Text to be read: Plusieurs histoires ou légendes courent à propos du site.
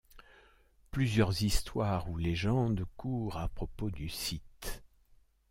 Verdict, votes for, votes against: accepted, 2, 0